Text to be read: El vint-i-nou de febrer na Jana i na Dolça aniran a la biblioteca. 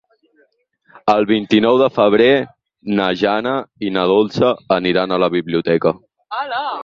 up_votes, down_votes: 8, 4